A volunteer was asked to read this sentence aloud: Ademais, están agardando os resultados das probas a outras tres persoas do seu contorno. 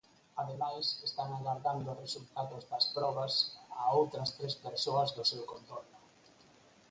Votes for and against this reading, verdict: 0, 4, rejected